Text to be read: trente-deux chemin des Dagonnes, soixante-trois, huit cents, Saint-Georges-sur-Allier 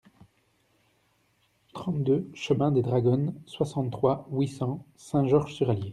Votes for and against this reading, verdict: 0, 2, rejected